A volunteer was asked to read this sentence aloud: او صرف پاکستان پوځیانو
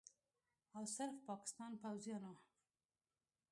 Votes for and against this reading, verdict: 2, 0, accepted